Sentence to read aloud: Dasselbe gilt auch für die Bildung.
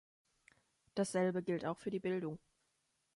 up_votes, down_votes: 2, 0